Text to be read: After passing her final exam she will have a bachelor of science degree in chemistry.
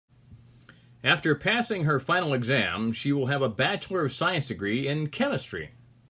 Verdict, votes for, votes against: accepted, 3, 0